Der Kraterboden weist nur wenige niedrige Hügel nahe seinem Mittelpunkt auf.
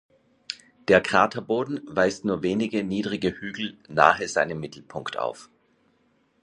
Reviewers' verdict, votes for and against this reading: accepted, 2, 0